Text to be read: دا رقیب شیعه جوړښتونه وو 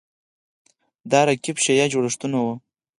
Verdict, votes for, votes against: rejected, 2, 4